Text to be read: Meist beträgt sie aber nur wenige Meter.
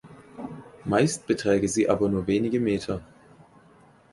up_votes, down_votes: 2, 4